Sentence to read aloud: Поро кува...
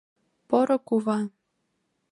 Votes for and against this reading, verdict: 3, 0, accepted